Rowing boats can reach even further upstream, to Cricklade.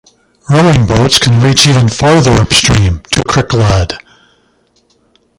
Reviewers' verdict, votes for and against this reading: accepted, 3, 2